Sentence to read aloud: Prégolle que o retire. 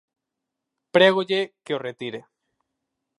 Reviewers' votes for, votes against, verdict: 4, 0, accepted